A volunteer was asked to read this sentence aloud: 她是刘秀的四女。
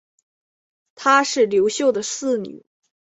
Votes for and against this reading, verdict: 2, 0, accepted